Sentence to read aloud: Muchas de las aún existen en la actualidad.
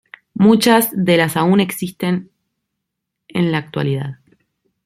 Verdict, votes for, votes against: accepted, 2, 0